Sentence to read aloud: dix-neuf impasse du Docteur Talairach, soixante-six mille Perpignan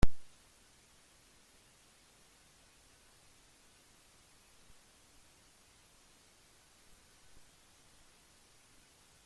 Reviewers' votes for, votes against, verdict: 0, 2, rejected